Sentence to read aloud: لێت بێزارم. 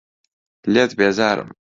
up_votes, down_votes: 2, 0